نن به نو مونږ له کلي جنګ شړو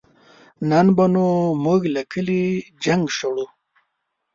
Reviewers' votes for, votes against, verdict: 2, 0, accepted